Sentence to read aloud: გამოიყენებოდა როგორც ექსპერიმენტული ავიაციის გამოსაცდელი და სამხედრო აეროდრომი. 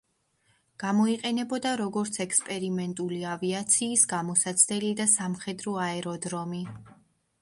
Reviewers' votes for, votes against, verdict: 2, 0, accepted